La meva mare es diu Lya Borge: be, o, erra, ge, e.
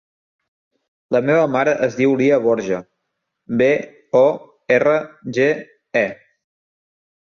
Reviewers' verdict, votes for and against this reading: accepted, 2, 0